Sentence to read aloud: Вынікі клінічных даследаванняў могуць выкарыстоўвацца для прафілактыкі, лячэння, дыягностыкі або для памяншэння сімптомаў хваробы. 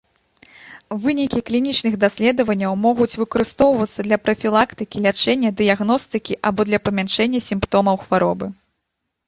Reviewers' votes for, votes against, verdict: 3, 0, accepted